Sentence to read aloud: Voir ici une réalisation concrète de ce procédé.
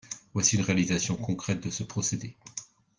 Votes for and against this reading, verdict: 1, 2, rejected